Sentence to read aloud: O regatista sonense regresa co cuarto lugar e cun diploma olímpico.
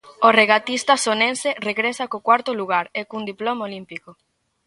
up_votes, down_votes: 2, 0